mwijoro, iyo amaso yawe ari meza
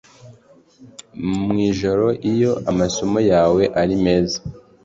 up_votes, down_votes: 1, 2